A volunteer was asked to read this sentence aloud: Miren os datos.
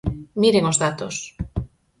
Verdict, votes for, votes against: accepted, 4, 0